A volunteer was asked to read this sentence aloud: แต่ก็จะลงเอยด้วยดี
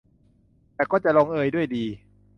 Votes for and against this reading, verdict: 2, 0, accepted